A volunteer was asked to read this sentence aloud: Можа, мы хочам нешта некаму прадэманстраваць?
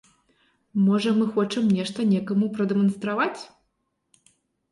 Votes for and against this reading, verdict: 5, 0, accepted